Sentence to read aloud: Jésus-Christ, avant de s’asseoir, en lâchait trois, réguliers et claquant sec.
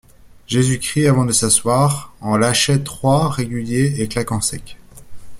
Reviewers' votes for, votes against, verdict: 2, 0, accepted